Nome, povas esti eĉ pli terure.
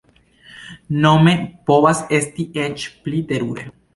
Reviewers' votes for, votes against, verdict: 2, 1, accepted